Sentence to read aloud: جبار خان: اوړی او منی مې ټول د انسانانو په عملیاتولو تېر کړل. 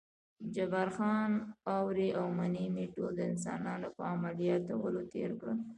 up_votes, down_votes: 2, 0